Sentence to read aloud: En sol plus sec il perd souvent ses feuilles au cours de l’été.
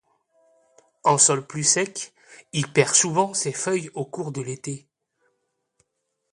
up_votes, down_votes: 2, 0